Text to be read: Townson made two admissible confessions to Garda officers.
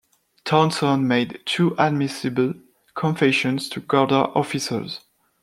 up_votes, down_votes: 2, 0